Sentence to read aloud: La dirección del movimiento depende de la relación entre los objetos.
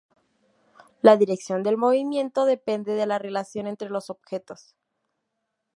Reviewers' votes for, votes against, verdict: 2, 0, accepted